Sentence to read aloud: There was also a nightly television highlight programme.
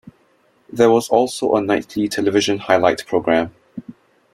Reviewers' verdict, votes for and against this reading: accepted, 2, 0